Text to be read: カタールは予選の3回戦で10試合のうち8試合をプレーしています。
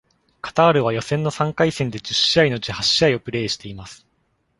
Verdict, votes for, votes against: rejected, 0, 2